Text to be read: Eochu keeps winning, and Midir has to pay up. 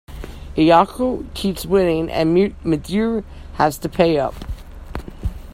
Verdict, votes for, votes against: rejected, 1, 2